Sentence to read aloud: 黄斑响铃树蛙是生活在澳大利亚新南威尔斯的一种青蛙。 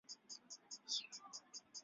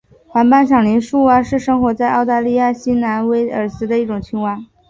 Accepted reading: second